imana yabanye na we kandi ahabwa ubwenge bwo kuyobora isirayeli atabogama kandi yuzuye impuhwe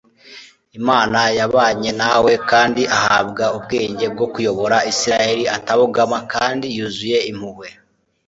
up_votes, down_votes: 2, 0